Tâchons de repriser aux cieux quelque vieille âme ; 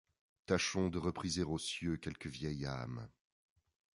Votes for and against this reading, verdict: 2, 0, accepted